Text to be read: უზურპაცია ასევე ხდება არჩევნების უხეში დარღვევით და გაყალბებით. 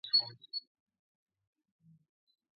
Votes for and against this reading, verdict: 0, 2, rejected